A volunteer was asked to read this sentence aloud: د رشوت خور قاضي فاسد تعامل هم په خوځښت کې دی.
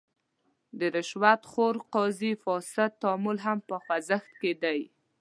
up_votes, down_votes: 2, 0